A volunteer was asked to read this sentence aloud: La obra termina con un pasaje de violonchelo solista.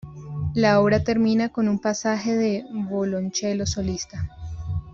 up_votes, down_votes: 0, 2